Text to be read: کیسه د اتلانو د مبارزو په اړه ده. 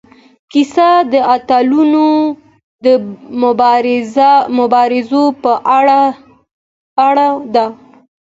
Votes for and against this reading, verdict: 1, 2, rejected